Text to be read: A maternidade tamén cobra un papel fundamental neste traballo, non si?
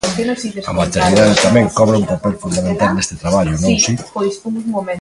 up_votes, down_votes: 0, 2